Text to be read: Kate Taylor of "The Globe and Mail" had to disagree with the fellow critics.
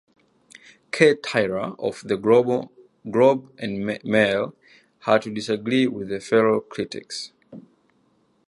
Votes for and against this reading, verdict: 0, 2, rejected